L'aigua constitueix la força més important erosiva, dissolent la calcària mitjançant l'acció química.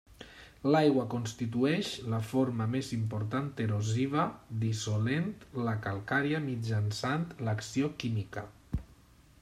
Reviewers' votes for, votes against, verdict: 0, 2, rejected